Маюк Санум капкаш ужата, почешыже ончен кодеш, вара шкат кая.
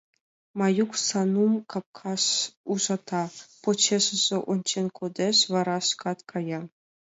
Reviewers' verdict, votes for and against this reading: accepted, 2, 1